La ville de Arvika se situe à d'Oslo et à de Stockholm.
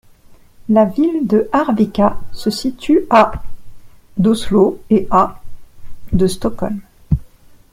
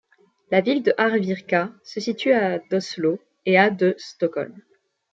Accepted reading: first